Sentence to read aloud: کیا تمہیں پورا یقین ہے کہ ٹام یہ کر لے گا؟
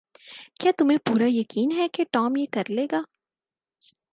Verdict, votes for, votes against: accepted, 4, 0